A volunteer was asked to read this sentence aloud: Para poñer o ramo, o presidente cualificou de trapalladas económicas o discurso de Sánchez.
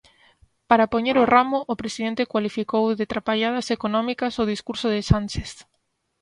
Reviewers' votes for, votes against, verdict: 2, 0, accepted